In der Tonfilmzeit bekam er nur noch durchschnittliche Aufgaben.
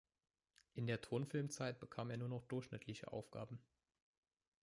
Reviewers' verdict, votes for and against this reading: rejected, 0, 2